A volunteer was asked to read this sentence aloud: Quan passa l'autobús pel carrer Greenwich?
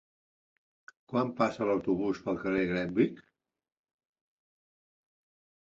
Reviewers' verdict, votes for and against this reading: accepted, 2, 1